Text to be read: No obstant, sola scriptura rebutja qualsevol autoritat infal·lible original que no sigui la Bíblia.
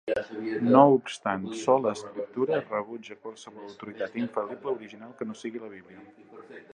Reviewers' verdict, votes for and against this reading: rejected, 0, 2